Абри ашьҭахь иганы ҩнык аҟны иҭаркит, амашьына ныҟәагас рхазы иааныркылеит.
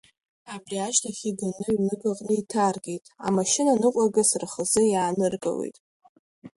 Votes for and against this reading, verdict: 2, 0, accepted